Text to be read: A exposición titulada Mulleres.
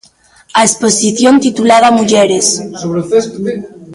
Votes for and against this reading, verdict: 2, 0, accepted